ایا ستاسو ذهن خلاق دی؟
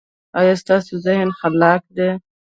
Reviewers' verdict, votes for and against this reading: accepted, 2, 0